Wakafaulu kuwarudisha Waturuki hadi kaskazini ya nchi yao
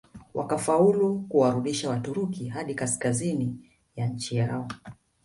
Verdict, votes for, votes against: rejected, 0, 2